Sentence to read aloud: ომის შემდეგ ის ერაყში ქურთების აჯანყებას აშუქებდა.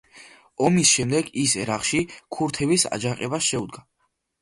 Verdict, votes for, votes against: rejected, 1, 2